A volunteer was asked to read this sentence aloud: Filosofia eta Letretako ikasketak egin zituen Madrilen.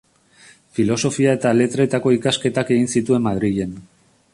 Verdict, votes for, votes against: accepted, 2, 0